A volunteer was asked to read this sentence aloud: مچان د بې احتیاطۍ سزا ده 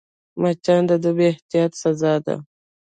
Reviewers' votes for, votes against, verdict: 2, 1, accepted